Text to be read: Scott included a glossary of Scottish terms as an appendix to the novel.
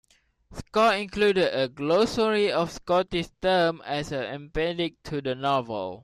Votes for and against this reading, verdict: 0, 2, rejected